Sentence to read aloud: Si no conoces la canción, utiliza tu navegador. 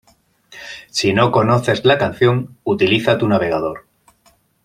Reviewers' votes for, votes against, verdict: 2, 0, accepted